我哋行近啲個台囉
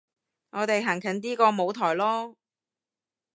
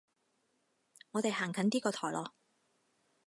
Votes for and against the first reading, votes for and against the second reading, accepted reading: 0, 2, 4, 0, second